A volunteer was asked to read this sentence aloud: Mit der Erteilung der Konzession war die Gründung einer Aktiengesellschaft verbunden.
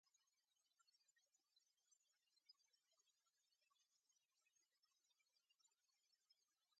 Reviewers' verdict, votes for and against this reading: rejected, 0, 2